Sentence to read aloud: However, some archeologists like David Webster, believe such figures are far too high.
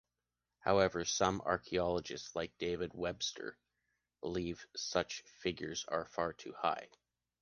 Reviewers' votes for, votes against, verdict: 2, 0, accepted